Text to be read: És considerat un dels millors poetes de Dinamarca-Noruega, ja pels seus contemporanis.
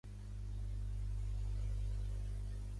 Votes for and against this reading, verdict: 0, 3, rejected